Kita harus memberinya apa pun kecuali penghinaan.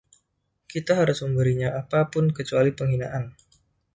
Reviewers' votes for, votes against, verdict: 2, 0, accepted